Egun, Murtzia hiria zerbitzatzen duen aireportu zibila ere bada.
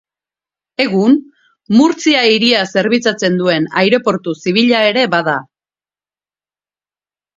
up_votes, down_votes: 4, 0